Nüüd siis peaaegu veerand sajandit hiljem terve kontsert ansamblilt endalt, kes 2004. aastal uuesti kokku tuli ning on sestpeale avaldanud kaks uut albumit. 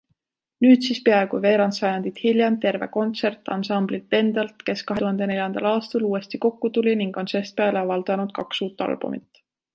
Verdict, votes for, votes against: rejected, 0, 2